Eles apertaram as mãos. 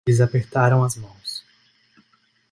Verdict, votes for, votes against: rejected, 0, 2